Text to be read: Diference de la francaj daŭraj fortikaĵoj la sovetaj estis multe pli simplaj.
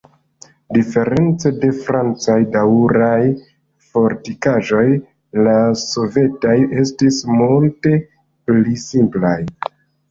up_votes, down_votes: 1, 2